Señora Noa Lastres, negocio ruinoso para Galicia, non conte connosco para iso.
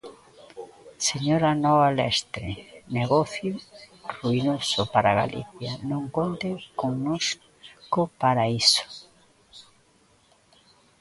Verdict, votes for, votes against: rejected, 0, 2